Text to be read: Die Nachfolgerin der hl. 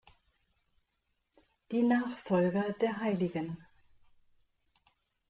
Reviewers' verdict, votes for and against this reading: rejected, 0, 2